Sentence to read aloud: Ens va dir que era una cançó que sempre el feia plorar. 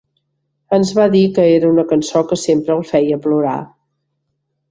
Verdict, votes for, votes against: accepted, 3, 0